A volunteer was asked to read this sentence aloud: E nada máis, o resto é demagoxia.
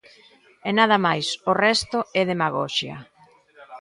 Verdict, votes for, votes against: rejected, 1, 2